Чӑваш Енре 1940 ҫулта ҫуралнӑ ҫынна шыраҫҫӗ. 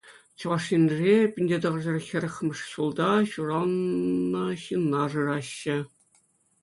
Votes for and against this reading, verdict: 0, 2, rejected